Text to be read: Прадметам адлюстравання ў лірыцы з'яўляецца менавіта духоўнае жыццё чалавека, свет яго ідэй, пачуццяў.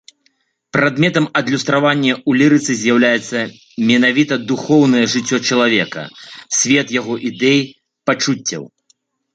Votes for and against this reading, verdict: 2, 0, accepted